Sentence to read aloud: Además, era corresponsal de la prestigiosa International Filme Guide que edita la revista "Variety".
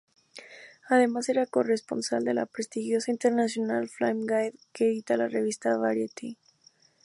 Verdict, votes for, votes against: accepted, 2, 0